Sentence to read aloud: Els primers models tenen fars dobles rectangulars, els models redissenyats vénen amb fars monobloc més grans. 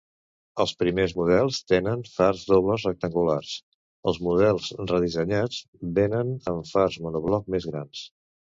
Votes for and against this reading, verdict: 2, 0, accepted